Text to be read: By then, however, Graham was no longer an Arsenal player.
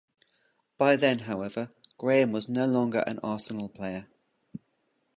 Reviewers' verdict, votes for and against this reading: accepted, 2, 0